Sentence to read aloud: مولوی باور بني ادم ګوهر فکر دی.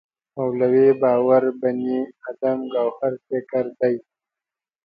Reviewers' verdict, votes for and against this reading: accepted, 2, 0